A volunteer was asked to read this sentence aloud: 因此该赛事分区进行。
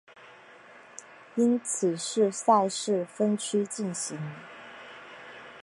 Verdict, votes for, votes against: accepted, 2, 1